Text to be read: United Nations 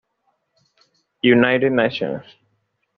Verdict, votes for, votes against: accepted, 2, 0